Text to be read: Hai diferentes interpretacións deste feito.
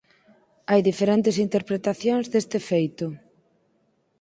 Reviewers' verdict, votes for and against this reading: accepted, 6, 0